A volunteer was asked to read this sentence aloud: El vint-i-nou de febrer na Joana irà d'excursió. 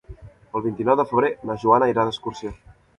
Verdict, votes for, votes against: accepted, 2, 0